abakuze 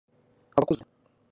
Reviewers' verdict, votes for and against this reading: rejected, 1, 2